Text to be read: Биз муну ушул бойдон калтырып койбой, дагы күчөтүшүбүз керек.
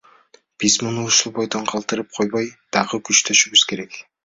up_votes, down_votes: 2, 0